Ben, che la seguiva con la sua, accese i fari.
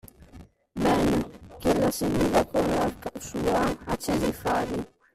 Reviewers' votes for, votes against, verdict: 0, 2, rejected